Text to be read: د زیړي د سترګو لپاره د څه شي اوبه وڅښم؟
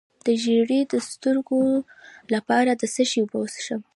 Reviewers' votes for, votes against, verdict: 2, 1, accepted